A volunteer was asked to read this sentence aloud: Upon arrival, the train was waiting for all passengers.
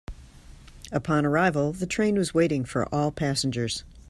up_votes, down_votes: 2, 0